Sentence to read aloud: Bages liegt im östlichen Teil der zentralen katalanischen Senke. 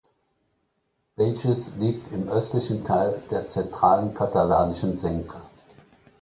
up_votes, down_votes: 1, 2